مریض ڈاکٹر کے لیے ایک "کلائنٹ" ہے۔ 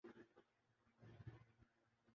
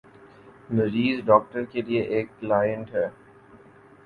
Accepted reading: second